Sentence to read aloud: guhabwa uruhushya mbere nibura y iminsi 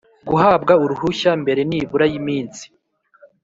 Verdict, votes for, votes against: accepted, 3, 0